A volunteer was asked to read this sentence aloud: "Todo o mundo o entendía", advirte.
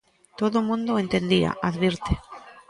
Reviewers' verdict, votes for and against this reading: accepted, 2, 0